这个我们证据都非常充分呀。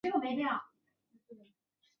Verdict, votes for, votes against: rejected, 0, 2